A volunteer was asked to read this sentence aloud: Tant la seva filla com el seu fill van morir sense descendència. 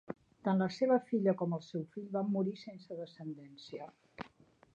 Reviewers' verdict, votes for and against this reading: accepted, 4, 1